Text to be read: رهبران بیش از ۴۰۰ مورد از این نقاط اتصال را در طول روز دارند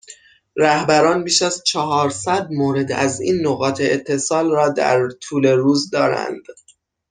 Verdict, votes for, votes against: rejected, 0, 2